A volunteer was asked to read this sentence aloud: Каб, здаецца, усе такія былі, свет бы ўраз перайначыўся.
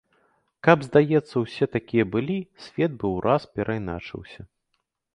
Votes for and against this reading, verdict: 3, 1, accepted